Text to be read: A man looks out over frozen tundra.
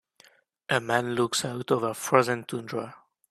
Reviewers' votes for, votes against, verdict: 2, 0, accepted